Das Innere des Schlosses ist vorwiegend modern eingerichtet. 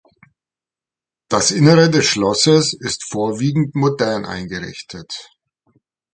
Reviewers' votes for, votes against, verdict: 2, 0, accepted